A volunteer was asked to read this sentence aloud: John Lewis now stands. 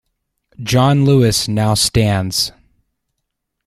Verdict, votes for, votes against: accepted, 2, 0